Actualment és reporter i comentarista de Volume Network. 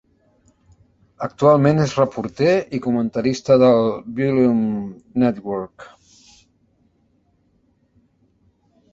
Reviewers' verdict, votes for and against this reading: rejected, 0, 2